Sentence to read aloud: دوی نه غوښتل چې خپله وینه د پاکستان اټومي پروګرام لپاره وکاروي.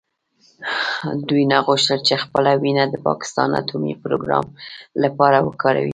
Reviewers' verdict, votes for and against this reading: rejected, 1, 2